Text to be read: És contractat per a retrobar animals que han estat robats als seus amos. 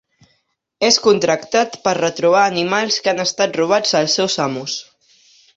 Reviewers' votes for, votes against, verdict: 2, 0, accepted